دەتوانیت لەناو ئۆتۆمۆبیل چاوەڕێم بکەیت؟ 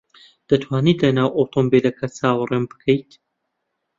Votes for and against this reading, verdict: 0, 2, rejected